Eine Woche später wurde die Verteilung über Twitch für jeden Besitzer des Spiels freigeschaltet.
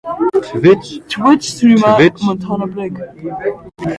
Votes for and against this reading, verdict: 0, 2, rejected